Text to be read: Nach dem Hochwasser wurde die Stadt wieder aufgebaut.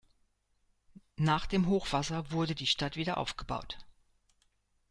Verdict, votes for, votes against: accepted, 2, 0